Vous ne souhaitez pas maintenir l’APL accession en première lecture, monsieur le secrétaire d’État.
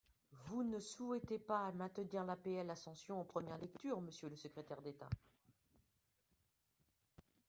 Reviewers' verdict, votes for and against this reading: rejected, 0, 2